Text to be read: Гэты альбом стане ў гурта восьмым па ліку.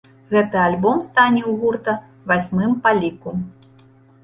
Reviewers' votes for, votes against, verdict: 1, 2, rejected